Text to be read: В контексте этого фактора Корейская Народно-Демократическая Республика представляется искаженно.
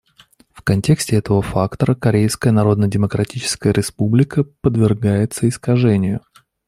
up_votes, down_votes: 0, 2